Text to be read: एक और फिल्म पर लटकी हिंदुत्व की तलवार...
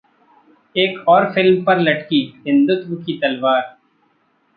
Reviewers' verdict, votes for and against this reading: rejected, 1, 2